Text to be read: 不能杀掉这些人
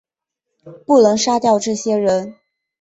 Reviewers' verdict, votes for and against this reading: accepted, 2, 0